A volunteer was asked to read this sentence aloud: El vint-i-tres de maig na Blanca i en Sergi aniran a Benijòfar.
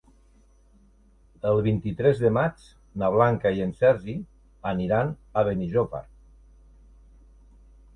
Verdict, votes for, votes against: accepted, 2, 0